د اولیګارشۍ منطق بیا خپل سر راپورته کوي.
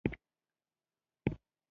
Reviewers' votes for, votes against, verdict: 1, 2, rejected